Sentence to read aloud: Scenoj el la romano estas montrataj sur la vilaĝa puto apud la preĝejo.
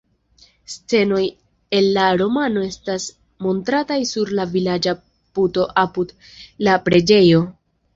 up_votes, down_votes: 0, 2